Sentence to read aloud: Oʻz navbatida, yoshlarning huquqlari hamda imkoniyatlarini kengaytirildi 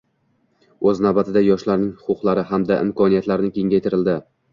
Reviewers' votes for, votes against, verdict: 2, 0, accepted